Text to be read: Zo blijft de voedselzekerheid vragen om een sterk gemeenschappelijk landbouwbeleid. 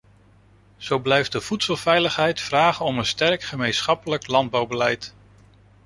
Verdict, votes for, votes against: rejected, 0, 2